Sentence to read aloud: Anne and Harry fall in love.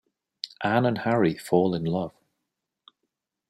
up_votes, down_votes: 2, 0